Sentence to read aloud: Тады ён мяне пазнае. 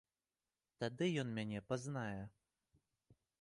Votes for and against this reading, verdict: 2, 0, accepted